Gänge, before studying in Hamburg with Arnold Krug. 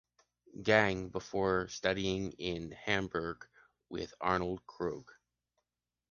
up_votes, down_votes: 2, 0